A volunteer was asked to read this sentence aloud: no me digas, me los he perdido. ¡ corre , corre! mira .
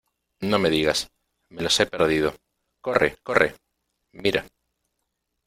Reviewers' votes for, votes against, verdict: 2, 0, accepted